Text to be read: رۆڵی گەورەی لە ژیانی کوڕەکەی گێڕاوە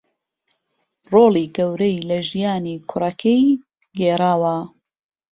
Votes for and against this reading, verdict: 2, 0, accepted